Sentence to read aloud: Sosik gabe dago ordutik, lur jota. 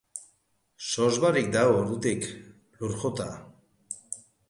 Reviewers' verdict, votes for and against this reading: rejected, 0, 2